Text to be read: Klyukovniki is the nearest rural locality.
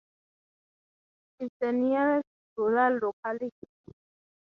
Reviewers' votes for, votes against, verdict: 0, 6, rejected